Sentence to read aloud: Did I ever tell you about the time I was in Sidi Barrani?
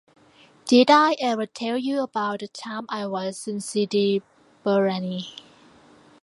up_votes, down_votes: 0, 2